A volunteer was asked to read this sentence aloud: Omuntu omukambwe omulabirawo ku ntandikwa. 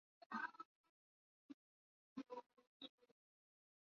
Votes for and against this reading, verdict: 0, 2, rejected